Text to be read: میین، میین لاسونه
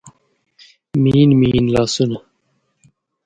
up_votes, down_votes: 2, 1